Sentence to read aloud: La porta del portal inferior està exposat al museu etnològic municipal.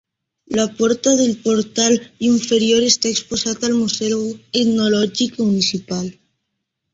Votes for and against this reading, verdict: 2, 1, accepted